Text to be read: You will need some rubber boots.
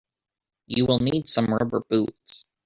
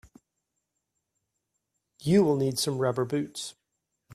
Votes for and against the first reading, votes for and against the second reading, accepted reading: 0, 2, 2, 0, second